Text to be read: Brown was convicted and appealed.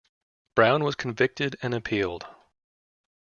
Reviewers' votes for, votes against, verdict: 2, 0, accepted